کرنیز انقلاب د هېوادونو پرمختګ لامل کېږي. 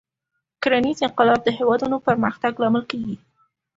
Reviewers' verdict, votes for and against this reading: accepted, 2, 0